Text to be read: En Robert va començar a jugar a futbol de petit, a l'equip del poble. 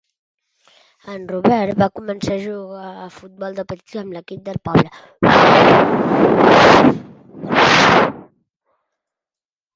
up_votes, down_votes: 0, 3